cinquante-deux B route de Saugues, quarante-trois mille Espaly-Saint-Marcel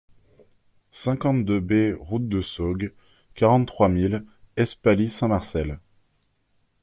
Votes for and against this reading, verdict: 2, 0, accepted